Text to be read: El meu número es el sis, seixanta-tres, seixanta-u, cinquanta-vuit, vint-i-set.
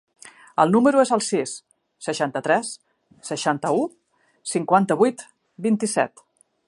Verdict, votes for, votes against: rejected, 1, 3